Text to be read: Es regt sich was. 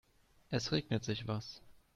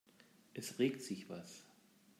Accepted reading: second